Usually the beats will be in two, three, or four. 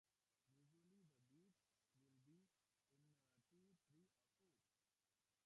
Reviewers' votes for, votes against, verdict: 0, 2, rejected